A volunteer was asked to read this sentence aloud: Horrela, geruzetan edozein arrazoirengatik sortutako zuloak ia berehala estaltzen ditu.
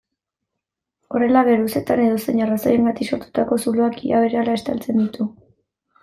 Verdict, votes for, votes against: rejected, 1, 2